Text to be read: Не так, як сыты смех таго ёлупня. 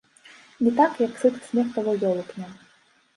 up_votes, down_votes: 2, 1